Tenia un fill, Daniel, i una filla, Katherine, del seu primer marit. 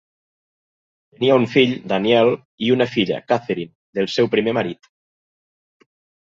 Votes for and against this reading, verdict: 0, 2, rejected